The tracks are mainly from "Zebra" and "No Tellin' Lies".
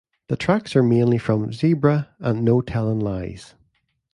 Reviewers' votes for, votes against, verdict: 1, 2, rejected